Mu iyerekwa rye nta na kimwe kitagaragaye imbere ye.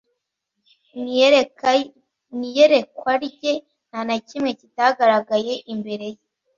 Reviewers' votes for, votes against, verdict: 0, 2, rejected